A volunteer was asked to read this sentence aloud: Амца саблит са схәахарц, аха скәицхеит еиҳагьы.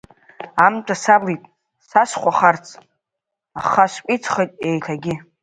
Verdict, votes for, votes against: rejected, 1, 3